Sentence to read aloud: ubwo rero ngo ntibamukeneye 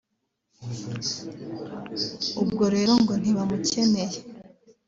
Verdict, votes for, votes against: rejected, 0, 2